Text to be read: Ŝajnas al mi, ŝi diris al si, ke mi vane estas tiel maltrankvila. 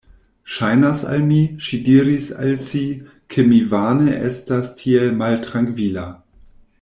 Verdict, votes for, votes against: accepted, 2, 0